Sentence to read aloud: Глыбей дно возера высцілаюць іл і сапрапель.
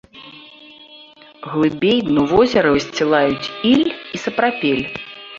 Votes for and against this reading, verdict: 0, 2, rejected